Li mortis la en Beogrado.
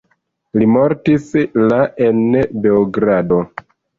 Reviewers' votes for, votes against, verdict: 1, 2, rejected